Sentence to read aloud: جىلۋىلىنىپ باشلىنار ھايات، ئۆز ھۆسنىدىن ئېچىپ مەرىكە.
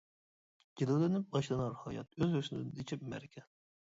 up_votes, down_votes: 1, 2